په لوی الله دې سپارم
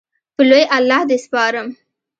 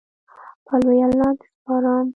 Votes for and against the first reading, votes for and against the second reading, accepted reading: 2, 0, 0, 2, first